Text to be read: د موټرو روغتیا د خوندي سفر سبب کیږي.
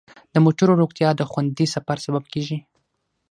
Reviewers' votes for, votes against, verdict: 3, 6, rejected